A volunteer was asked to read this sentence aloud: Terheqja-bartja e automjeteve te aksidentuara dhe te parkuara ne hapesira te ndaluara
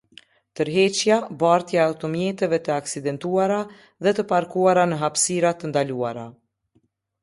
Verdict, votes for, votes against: rejected, 1, 2